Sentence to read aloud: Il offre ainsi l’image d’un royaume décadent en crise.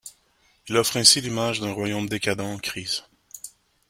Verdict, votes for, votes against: accepted, 2, 0